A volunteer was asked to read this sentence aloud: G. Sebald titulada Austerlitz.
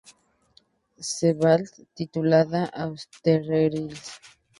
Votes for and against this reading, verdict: 0, 4, rejected